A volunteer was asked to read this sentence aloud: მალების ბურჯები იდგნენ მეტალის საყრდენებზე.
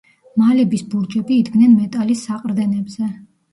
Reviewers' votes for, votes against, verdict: 0, 2, rejected